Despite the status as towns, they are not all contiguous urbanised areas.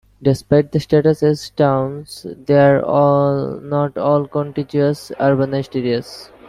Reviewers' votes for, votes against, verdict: 0, 2, rejected